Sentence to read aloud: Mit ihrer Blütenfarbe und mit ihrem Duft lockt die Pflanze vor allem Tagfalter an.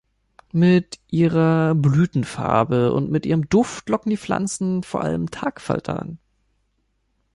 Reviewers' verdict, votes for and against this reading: rejected, 1, 2